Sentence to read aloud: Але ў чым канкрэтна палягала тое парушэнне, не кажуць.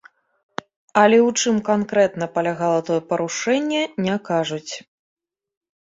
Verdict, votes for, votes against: accepted, 2, 0